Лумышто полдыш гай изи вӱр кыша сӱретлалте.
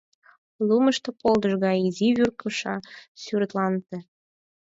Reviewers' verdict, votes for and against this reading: rejected, 2, 4